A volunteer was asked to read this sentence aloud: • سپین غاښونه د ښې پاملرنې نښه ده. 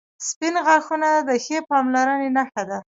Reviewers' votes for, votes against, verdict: 1, 2, rejected